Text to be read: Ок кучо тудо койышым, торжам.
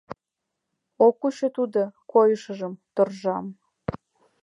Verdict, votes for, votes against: rejected, 1, 2